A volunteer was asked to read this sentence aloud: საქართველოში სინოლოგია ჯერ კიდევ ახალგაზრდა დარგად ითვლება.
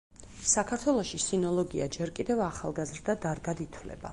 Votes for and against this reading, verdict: 4, 0, accepted